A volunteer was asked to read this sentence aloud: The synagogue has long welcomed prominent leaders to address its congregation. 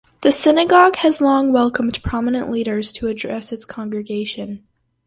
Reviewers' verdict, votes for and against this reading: accepted, 4, 0